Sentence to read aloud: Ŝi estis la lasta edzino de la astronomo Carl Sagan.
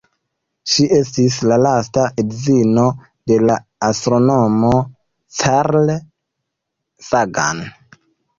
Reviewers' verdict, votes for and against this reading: rejected, 0, 2